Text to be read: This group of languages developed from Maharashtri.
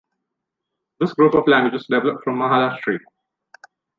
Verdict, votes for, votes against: rejected, 0, 2